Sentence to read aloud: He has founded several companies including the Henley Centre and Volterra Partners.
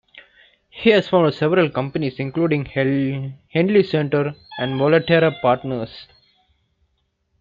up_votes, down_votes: 0, 2